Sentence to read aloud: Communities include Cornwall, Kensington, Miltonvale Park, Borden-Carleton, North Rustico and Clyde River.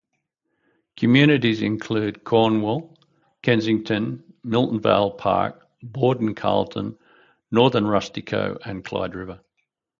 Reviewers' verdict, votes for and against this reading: accepted, 2, 0